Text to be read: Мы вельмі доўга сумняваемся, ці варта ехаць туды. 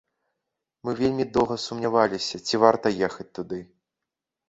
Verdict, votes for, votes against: rejected, 0, 2